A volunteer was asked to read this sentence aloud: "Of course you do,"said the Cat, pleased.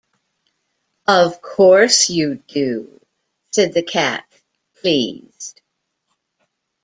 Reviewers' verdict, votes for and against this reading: accepted, 2, 0